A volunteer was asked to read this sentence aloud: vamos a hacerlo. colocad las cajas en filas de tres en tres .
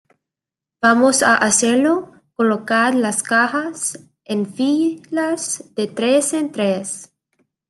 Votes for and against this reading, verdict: 1, 2, rejected